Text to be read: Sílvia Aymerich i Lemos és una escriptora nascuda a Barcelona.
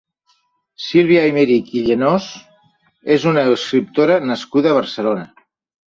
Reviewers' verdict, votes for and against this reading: rejected, 0, 2